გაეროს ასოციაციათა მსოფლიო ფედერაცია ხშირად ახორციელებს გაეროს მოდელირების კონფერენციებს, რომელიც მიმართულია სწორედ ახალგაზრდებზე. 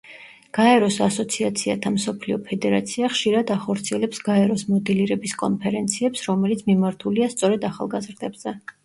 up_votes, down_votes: 1, 2